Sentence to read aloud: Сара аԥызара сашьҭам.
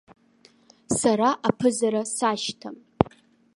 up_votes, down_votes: 2, 0